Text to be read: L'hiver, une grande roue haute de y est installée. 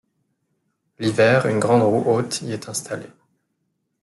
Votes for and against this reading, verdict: 1, 2, rejected